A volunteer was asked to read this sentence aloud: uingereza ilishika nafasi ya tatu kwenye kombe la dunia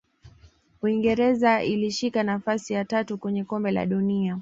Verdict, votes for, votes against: accepted, 2, 0